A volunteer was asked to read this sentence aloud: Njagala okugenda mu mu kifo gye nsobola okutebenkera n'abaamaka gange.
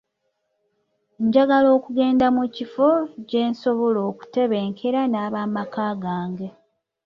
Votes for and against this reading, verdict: 1, 2, rejected